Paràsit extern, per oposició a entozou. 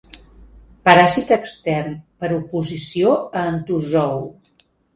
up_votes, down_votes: 2, 0